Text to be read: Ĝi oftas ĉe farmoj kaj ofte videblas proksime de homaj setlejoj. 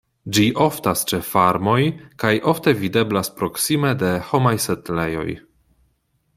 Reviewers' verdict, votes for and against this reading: accepted, 2, 0